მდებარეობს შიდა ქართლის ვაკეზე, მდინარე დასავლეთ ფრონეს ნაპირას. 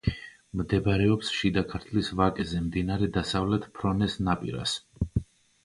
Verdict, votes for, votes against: accepted, 3, 0